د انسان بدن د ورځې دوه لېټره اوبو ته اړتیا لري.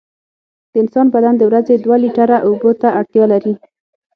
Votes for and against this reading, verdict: 6, 0, accepted